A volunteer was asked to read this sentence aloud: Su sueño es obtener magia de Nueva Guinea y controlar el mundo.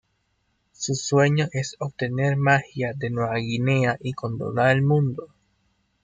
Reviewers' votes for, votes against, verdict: 1, 2, rejected